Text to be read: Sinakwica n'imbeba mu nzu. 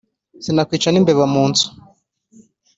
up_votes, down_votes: 4, 0